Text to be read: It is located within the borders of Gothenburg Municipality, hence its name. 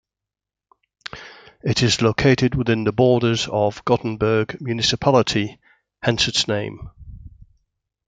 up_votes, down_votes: 2, 0